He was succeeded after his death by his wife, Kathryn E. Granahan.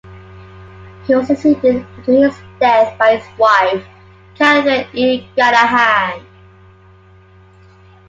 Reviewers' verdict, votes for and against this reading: accepted, 2, 0